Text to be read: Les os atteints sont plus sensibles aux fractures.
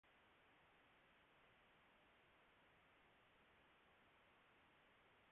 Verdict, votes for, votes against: rejected, 0, 2